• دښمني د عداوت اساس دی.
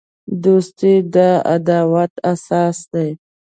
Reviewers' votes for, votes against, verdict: 1, 2, rejected